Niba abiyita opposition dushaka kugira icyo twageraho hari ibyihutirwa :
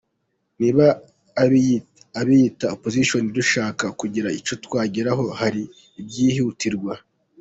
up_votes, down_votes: 1, 2